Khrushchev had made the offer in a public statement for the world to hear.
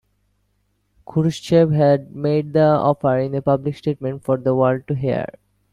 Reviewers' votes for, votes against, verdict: 2, 0, accepted